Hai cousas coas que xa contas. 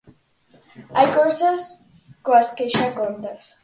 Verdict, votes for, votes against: accepted, 4, 0